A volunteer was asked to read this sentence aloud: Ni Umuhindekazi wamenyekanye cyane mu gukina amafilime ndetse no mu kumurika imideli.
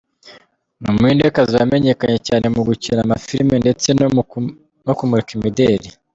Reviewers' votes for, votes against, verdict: 1, 2, rejected